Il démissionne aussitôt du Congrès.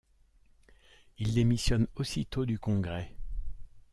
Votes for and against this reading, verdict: 0, 2, rejected